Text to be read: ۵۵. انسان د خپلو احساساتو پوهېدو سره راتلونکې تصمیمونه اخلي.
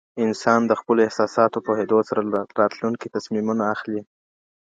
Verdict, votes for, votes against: rejected, 0, 2